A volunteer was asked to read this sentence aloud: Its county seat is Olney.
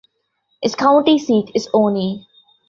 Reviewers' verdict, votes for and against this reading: rejected, 1, 2